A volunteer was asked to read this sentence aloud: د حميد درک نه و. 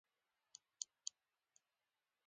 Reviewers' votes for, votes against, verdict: 1, 2, rejected